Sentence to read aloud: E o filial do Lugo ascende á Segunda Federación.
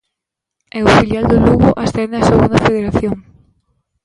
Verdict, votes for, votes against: accepted, 2, 0